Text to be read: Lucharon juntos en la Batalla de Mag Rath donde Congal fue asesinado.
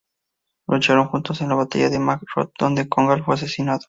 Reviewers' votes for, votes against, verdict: 2, 0, accepted